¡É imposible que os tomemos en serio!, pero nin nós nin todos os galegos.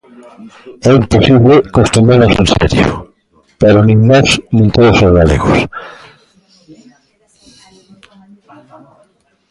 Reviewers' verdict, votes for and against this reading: rejected, 1, 2